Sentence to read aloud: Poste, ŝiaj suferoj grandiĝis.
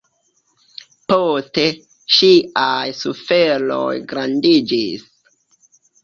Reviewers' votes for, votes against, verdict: 2, 1, accepted